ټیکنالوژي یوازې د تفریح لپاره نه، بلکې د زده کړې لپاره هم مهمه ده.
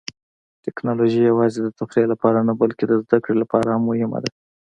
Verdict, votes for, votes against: accepted, 2, 0